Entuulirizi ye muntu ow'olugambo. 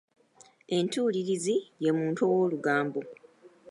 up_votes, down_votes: 2, 0